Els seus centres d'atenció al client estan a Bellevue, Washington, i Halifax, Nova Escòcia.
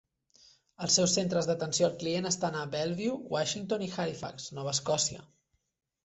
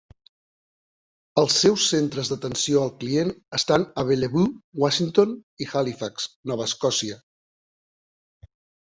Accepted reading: first